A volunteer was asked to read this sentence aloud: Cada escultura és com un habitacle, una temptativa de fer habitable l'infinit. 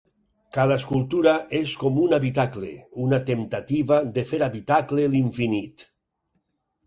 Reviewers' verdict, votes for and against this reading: rejected, 0, 4